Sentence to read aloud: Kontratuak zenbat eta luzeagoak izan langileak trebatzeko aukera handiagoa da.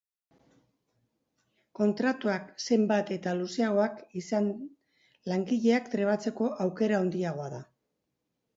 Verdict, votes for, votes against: rejected, 1, 3